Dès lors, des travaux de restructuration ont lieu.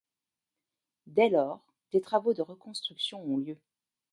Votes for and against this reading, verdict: 1, 2, rejected